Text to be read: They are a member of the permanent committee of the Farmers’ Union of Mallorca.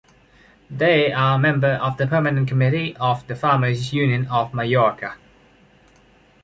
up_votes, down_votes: 0, 3